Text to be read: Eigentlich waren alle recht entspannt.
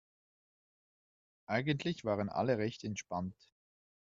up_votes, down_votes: 2, 0